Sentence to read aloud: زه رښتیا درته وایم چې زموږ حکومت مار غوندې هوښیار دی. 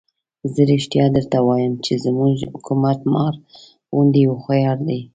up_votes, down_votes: 2, 0